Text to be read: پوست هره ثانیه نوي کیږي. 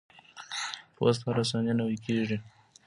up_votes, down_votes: 1, 2